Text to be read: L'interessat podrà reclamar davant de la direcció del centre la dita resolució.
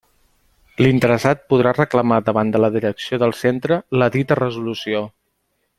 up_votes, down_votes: 2, 0